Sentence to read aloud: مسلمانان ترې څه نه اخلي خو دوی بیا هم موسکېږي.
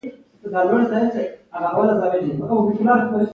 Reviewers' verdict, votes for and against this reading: accepted, 2, 1